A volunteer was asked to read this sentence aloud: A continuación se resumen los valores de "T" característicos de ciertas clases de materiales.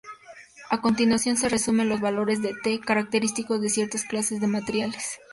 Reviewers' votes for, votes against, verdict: 2, 0, accepted